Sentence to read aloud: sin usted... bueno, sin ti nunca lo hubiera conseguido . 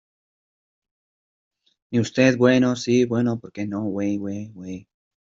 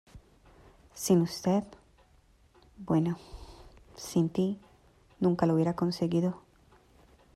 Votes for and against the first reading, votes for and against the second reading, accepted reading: 0, 2, 2, 1, second